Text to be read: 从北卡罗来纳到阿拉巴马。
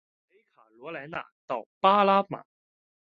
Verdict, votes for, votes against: rejected, 0, 2